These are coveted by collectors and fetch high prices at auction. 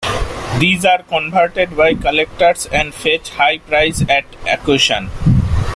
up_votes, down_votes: 0, 2